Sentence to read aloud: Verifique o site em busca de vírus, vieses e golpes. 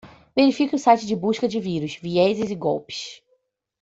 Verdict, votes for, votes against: rejected, 0, 2